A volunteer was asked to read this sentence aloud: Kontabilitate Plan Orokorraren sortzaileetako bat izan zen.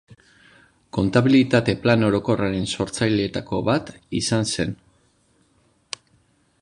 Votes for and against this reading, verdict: 2, 0, accepted